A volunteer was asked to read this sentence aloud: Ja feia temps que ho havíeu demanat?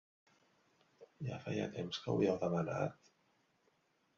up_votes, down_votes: 0, 2